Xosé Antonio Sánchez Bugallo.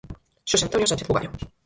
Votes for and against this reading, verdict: 0, 4, rejected